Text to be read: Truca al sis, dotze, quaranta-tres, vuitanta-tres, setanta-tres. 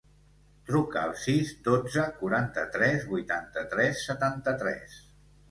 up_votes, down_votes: 2, 0